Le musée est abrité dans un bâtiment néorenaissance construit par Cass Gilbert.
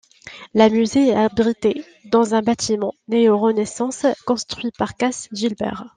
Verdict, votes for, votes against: rejected, 0, 2